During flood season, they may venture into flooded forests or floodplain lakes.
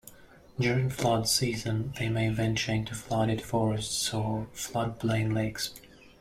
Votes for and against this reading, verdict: 1, 2, rejected